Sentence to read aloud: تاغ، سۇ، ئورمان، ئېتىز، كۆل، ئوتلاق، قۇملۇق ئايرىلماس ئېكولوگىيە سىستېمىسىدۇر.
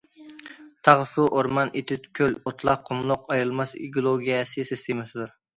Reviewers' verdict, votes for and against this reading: rejected, 0, 2